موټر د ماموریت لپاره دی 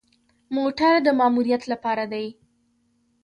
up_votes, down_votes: 2, 0